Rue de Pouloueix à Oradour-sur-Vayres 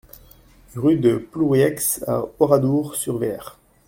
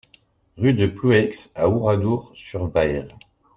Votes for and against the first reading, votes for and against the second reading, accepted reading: 0, 2, 2, 0, second